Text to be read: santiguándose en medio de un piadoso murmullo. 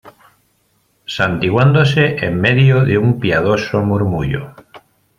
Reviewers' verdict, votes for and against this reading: accepted, 2, 0